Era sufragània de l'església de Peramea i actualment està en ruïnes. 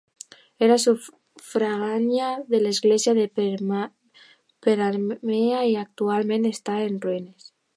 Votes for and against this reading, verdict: 1, 2, rejected